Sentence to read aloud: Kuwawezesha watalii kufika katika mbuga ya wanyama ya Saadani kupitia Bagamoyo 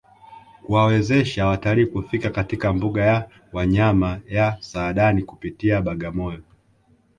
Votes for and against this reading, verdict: 0, 2, rejected